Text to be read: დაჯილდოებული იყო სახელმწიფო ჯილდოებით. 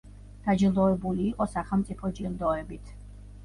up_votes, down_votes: 2, 1